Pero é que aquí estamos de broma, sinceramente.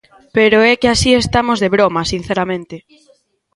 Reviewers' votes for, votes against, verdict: 0, 2, rejected